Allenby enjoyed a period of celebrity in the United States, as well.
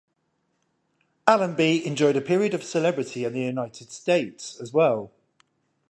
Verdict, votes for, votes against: accepted, 10, 0